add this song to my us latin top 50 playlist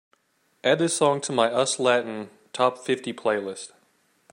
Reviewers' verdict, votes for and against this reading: rejected, 0, 2